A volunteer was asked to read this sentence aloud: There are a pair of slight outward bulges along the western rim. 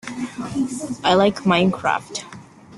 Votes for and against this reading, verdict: 1, 2, rejected